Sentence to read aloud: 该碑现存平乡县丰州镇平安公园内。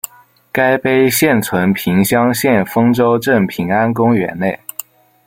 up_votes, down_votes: 2, 0